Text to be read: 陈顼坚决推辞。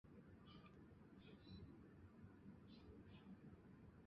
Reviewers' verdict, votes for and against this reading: rejected, 1, 2